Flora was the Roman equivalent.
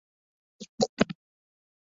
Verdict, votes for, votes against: rejected, 0, 2